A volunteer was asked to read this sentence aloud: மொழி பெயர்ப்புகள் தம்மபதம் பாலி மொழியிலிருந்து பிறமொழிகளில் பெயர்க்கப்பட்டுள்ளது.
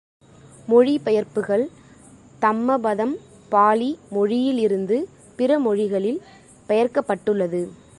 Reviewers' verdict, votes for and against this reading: accepted, 2, 0